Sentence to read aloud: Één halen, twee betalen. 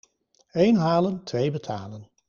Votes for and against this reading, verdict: 2, 0, accepted